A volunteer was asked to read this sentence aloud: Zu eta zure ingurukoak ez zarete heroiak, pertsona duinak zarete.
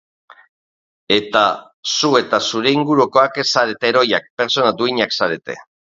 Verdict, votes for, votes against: rejected, 0, 2